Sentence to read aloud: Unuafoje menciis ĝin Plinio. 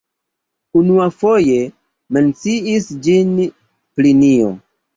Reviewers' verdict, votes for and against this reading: accepted, 2, 0